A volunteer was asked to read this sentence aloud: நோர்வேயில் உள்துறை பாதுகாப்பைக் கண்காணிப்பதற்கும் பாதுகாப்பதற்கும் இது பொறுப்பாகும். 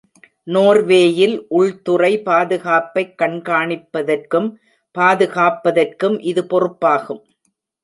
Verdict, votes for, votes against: rejected, 0, 2